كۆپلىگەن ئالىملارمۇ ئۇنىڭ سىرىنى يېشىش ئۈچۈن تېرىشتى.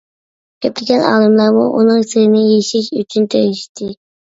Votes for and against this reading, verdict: 0, 2, rejected